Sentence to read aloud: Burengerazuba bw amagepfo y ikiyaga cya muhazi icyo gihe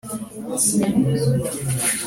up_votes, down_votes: 0, 2